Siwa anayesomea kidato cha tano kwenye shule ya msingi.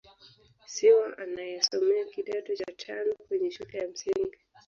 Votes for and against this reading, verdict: 1, 2, rejected